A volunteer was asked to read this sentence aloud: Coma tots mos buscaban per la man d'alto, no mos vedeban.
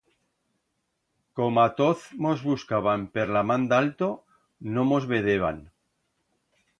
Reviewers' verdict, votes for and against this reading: rejected, 1, 2